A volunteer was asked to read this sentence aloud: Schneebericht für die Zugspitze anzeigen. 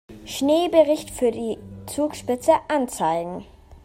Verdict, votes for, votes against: accepted, 2, 0